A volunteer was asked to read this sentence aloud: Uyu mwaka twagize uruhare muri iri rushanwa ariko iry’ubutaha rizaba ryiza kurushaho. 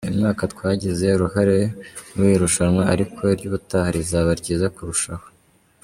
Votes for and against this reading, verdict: 2, 0, accepted